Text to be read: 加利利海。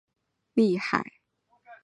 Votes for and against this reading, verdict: 0, 2, rejected